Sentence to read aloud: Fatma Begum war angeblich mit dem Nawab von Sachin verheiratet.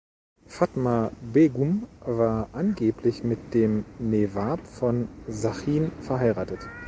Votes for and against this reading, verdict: 1, 2, rejected